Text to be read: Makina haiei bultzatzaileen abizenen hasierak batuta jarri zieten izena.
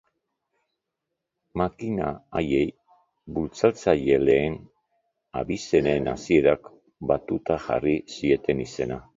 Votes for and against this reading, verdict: 0, 2, rejected